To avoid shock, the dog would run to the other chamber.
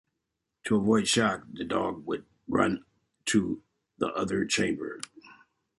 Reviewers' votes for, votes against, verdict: 2, 0, accepted